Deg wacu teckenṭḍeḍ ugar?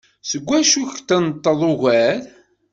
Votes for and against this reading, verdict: 0, 2, rejected